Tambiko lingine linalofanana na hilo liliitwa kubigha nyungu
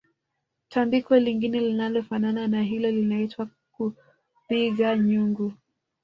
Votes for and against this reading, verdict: 0, 2, rejected